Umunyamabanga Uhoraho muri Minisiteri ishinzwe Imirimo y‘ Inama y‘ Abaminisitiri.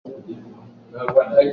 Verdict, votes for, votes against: rejected, 0, 2